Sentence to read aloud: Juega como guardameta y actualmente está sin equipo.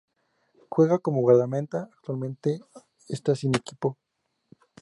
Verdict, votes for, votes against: rejected, 2, 2